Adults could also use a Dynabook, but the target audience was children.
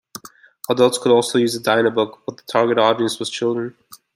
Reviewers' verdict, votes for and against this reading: accepted, 2, 0